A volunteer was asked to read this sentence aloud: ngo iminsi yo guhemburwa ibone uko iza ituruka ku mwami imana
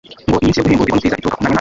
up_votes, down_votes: 0, 2